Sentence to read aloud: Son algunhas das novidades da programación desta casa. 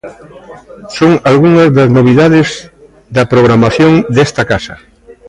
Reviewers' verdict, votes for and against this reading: accepted, 2, 0